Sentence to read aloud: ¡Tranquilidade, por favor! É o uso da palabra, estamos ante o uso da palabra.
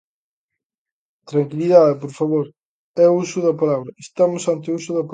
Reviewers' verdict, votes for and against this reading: rejected, 0, 2